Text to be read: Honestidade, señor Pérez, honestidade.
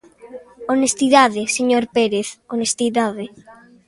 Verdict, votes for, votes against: accepted, 2, 0